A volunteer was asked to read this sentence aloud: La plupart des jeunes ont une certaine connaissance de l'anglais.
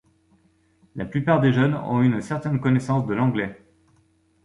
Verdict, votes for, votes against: accepted, 2, 0